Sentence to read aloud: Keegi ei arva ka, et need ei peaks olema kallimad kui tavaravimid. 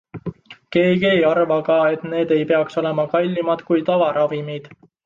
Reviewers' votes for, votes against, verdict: 2, 0, accepted